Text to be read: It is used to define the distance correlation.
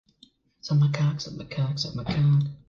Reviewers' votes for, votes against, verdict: 0, 2, rejected